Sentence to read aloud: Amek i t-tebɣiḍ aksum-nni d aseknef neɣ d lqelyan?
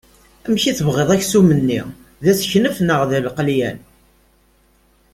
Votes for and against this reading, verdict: 2, 0, accepted